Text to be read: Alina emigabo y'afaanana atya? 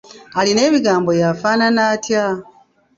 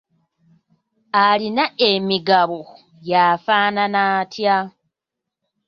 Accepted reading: second